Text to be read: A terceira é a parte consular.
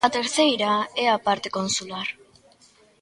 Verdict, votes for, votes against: accepted, 2, 0